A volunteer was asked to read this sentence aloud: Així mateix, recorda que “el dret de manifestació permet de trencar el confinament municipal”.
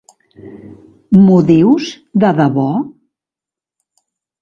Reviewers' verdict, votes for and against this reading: rejected, 0, 2